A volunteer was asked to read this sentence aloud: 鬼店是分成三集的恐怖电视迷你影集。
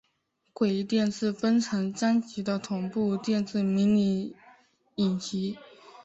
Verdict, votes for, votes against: accepted, 4, 0